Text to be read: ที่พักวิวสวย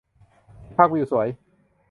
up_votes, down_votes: 0, 2